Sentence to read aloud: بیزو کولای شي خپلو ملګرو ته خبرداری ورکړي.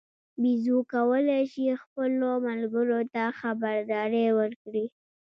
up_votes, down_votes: 1, 2